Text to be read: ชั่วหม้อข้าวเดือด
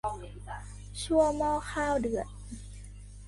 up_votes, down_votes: 2, 1